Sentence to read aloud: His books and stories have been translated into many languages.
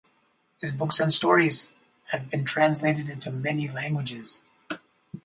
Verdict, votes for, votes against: rejected, 0, 2